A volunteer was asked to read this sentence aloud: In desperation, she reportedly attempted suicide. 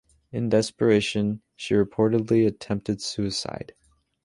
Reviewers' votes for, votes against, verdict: 2, 0, accepted